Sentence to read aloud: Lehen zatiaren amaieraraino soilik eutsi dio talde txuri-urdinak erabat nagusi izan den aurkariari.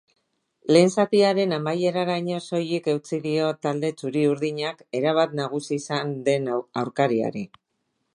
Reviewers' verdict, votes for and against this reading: rejected, 1, 2